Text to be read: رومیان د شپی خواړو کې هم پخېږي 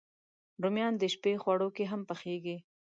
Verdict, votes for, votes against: accepted, 2, 0